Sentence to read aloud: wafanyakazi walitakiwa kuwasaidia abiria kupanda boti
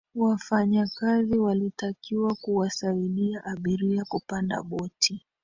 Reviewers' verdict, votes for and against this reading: accepted, 11, 4